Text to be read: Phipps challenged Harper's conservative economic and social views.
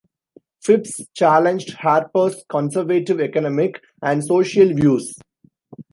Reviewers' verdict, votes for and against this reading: rejected, 1, 2